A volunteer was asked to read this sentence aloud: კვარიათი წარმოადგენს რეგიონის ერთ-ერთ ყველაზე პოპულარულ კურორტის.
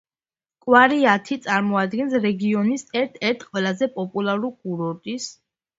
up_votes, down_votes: 2, 0